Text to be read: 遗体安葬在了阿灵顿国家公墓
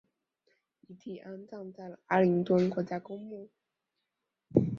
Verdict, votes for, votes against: rejected, 0, 2